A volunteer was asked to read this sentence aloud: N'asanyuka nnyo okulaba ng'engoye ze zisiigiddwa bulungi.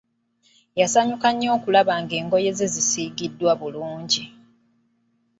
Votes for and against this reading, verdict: 0, 3, rejected